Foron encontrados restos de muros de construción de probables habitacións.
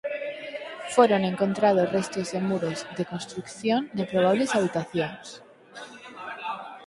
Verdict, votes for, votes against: rejected, 2, 4